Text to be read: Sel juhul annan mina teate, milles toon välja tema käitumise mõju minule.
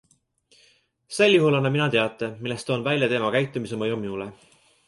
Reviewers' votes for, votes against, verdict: 2, 0, accepted